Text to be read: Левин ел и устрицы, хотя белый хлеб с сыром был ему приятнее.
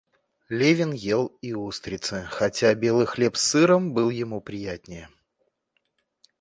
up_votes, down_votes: 2, 0